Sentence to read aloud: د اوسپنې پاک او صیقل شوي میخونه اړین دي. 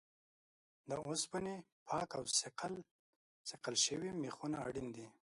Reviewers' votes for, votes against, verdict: 1, 2, rejected